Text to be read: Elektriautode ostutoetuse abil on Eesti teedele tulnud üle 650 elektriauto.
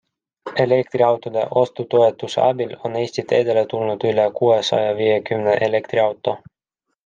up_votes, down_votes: 0, 2